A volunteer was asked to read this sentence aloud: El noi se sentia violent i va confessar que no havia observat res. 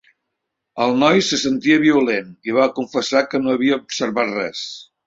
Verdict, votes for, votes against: accepted, 3, 0